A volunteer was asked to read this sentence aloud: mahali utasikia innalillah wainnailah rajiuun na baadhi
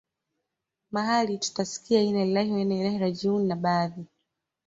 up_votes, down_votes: 2, 0